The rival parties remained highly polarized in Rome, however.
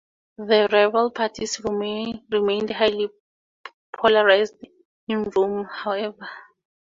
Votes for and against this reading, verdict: 2, 2, rejected